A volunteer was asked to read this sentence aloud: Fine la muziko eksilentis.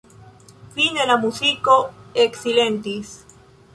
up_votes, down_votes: 1, 2